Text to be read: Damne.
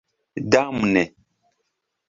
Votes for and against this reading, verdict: 3, 0, accepted